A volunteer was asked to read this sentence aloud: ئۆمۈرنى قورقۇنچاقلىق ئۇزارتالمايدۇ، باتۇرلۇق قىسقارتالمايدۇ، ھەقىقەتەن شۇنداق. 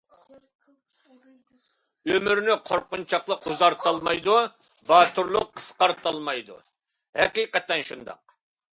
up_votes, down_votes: 2, 0